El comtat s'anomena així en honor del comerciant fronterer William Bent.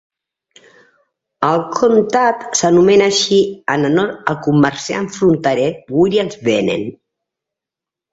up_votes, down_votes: 1, 2